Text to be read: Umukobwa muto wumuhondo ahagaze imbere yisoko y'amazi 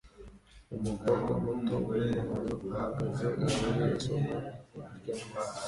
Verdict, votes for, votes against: rejected, 0, 2